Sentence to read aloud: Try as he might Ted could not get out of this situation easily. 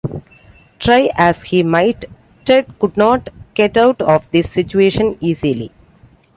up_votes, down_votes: 2, 0